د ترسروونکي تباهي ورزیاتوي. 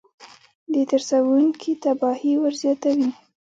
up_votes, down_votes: 1, 2